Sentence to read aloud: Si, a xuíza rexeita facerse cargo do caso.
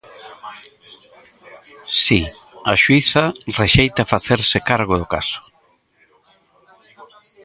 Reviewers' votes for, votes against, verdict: 0, 2, rejected